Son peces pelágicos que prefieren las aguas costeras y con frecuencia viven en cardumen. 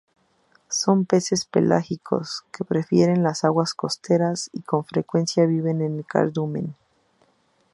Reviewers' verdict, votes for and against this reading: accepted, 2, 0